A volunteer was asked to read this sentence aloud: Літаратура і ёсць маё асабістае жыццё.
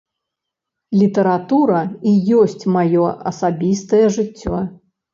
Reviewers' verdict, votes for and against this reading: accepted, 2, 0